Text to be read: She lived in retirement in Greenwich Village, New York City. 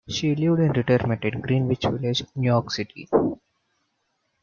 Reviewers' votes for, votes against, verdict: 1, 2, rejected